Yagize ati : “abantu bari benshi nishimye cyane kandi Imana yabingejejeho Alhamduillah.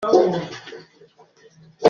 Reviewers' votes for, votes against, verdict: 0, 2, rejected